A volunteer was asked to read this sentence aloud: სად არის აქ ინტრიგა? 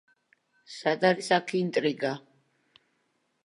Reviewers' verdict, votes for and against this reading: accepted, 2, 0